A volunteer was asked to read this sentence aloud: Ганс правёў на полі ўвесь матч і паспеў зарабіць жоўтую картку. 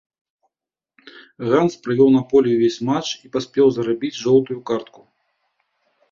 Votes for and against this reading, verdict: 2, 1, accepted